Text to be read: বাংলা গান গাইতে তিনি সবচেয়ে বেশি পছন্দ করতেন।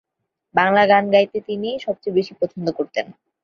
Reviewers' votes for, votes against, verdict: 2, 0, accepted